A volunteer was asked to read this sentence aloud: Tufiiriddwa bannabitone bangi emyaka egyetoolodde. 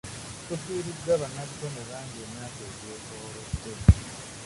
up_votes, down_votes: 0, 2